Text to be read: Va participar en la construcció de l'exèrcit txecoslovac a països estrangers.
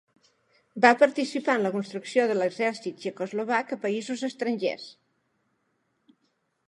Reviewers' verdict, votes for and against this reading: accepted, 2, 0